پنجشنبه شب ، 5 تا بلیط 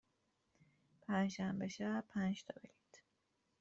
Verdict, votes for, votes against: rejected, 0, 2